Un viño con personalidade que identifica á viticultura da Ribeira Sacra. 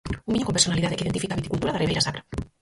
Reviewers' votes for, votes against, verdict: 0, 4, rejected